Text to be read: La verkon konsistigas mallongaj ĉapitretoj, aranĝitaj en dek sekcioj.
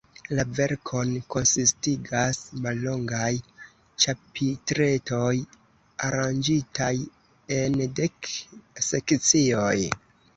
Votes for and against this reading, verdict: 2, 0, accepted